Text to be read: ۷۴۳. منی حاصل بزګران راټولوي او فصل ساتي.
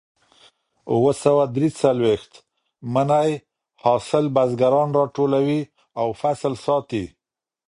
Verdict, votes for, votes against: rejected, 0, 2